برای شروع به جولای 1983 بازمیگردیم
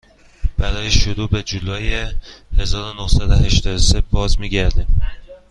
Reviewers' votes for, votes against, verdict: 0, 2, rejected